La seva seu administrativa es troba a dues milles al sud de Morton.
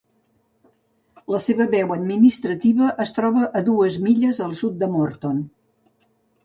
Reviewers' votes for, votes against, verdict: 0, 2, rejected